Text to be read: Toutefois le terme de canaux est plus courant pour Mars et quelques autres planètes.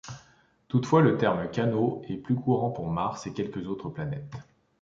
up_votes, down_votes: 1, 2